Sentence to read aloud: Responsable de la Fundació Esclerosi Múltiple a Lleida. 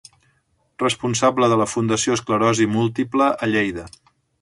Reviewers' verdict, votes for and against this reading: accepted, 3, 0